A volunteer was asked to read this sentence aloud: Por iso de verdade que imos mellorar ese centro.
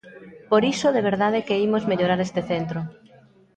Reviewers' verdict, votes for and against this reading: rejected, 0, 2